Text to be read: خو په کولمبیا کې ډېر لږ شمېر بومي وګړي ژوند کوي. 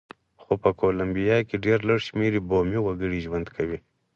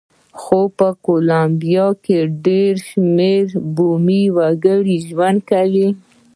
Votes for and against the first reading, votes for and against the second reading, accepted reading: 4, 2, 0, 2, first